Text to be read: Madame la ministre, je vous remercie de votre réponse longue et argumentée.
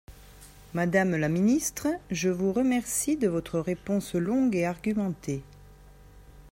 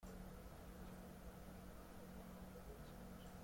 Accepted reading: first